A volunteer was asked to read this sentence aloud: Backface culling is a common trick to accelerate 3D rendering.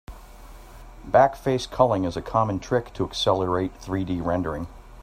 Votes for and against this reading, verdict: 0, 2, rejected